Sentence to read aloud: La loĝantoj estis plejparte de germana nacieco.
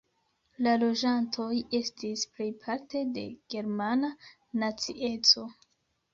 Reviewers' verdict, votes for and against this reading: accepted, 2, 1